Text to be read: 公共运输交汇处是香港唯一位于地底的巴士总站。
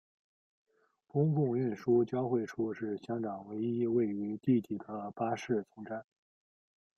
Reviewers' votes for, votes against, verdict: 2, 1, accepted